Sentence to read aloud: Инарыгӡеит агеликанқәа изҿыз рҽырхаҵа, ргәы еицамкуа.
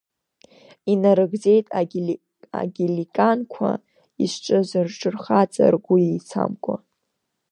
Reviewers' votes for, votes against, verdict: 1, 2, rejected